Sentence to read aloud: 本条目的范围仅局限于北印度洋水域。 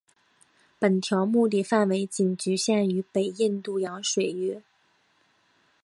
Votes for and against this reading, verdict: 1, 2, rejected